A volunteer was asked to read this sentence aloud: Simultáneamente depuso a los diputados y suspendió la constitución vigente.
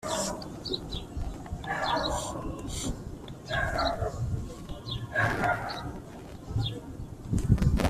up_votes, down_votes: 0, 3